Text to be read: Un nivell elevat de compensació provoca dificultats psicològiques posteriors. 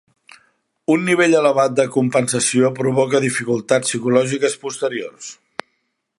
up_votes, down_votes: 3, 0